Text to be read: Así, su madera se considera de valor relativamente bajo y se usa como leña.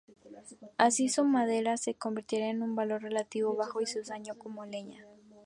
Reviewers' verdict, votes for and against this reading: rejected, 0, 2